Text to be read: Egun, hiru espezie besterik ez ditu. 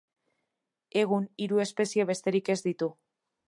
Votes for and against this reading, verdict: 2, 0, accepted